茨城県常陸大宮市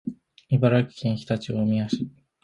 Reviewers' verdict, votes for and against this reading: accepted, 8, 1